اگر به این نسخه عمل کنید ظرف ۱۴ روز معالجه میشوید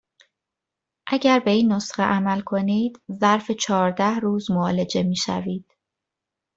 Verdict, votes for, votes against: rejected, 0, 2